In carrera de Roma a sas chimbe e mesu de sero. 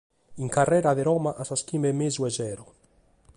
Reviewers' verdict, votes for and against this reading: accepted, 2, 0